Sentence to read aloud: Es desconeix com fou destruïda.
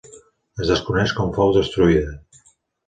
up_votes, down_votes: 2, 0